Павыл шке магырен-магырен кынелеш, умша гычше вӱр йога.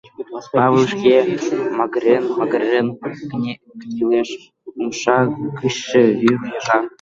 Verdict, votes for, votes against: rejected, 1, 2